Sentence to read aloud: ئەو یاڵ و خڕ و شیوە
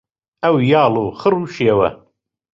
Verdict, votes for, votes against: rejected, 1, 2